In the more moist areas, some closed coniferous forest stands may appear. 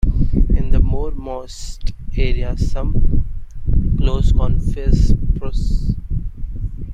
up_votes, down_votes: 0, 2